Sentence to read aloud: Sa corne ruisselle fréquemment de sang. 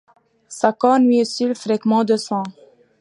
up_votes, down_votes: 0, 2